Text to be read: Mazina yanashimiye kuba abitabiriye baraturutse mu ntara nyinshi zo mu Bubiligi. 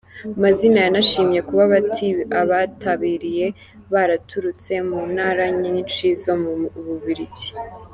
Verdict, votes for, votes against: rejected, 0, 2